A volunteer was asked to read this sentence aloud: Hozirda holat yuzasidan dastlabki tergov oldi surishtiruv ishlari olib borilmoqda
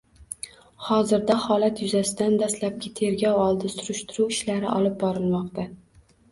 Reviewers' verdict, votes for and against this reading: accepted, 2, 0